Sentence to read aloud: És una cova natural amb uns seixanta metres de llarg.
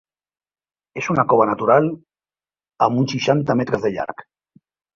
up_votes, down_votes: 2, 1